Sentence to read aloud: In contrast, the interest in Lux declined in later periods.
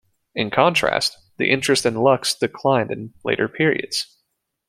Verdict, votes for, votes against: accepted, 2, 0